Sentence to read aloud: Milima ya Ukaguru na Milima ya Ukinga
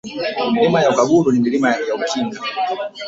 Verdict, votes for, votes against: rejected, 0, 2